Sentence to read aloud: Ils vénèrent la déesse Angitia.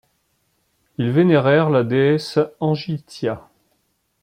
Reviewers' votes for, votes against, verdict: 1, 2, rejected